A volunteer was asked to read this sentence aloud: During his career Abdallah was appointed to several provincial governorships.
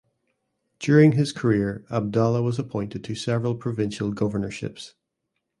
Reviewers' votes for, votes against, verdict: 2, 0, accepted